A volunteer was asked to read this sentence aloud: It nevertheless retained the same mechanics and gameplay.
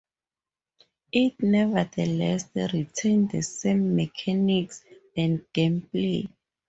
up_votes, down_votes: 2, 0